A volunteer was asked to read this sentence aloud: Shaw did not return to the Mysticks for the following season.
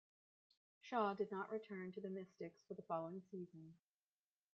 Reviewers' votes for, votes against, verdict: 1, 2, rejected